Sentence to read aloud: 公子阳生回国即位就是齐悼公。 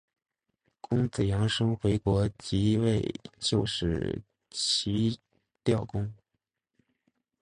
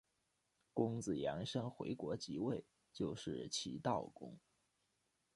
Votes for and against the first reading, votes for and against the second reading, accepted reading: 1, 2, 2, 0, second